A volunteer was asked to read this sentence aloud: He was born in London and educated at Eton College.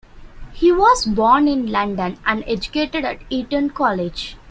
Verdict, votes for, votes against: accepted, 2, 1